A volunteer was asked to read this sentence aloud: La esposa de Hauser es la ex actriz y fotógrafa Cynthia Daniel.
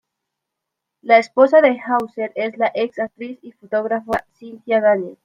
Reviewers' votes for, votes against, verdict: 1, 2, rejected